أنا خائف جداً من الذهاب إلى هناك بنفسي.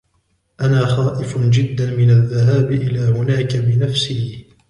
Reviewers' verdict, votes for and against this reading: accepted, 2, 1